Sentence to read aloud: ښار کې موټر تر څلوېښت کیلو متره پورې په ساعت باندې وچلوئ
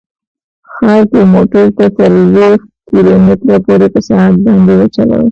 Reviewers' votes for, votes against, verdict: 1, 2, rejected